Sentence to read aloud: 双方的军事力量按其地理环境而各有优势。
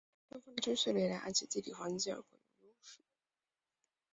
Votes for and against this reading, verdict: 0, 3, rejected